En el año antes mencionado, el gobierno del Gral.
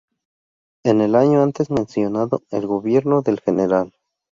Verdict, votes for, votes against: rejected, 0, 2